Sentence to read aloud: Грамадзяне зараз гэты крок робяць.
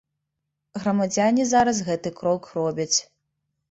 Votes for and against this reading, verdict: 3, 0, accepted